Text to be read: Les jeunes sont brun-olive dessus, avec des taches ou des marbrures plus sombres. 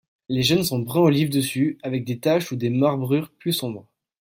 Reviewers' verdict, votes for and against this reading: accepted, 2, 0